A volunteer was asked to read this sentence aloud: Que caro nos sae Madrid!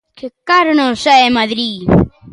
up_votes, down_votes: 2, 0